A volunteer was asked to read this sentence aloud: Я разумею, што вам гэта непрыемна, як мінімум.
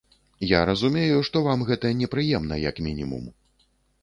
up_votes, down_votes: 2, 0